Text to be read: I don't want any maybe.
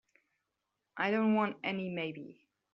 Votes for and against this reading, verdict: 4, 0, accepted